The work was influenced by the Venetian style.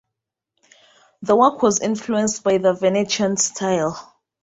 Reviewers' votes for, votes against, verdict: 0, 2, rejected